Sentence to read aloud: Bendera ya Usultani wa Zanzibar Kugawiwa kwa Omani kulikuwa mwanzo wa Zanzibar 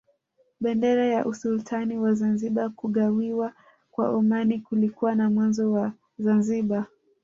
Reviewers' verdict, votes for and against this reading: accepted, 2, 1